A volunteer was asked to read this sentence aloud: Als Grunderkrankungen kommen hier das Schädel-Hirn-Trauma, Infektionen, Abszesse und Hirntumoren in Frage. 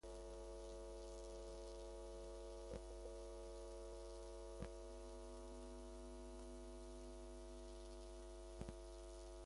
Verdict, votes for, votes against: rejected, 0, 2